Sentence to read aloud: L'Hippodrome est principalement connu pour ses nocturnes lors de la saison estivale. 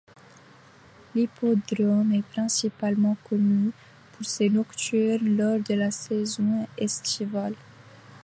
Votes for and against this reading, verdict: 2, 0, accepted